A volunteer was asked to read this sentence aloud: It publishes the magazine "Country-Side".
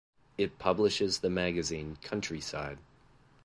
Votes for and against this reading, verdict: 2, 0, accepted